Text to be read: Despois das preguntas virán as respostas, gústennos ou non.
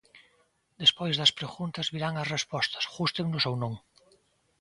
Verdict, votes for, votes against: accepted, 2, 1